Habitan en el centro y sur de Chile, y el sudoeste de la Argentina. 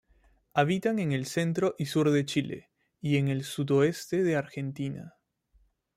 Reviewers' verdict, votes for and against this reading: accepted, 2, 0